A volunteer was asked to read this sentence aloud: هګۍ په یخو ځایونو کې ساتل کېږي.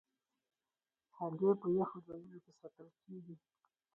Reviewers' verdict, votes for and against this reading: rejected, 2, 4